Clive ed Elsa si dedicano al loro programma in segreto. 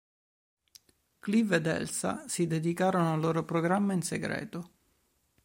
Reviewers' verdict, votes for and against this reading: rejected, 0, 2